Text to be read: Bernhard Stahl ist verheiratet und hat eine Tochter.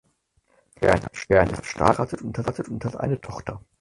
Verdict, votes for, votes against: rejected, 0, 4